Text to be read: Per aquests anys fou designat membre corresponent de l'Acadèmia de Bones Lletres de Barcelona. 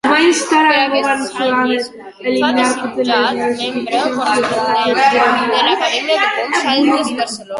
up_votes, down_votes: 1, 2